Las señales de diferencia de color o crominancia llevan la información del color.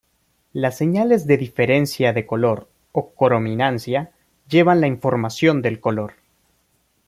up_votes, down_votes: 2, 0